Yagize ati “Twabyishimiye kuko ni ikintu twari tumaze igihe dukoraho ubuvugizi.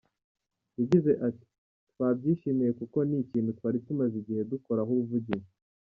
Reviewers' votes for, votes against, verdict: 0, 2, rejected